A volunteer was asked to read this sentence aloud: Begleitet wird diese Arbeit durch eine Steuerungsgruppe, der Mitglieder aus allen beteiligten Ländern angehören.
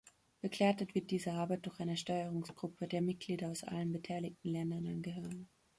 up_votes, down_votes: 2, 0